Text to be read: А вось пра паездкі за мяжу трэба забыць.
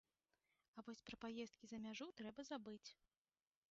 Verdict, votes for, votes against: rejected, 1, 3